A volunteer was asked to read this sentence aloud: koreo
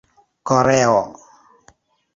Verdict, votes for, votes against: accepted, 2, 0